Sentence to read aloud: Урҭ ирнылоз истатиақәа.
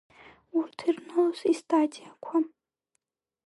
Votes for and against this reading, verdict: 0, 2, rejected